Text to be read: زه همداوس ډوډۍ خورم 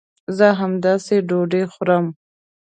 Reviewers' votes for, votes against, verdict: 1, 2, rejected